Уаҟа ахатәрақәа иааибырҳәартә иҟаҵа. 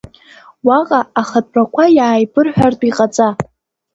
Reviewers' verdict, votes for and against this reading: accepted, 2, 0